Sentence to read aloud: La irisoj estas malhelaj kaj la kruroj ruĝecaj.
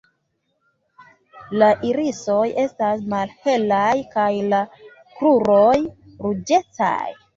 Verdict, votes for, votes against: accepted, 2, 0